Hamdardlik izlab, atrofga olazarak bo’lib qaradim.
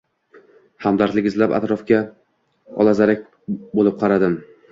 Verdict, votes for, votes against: accepted, 2, 0